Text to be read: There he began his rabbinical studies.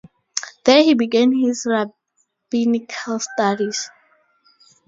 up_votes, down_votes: 2, 0